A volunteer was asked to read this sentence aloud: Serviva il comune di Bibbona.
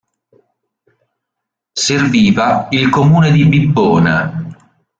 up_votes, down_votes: 1, 2